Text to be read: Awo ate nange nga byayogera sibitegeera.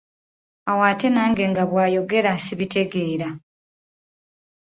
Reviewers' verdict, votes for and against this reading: rejected, 1, 2